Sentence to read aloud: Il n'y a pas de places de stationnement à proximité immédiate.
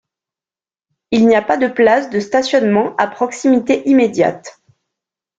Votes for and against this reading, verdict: 2, 0, accepted